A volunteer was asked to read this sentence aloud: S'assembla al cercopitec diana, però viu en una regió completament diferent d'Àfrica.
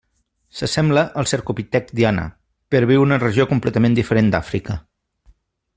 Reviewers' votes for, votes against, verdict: 2, 0, accepted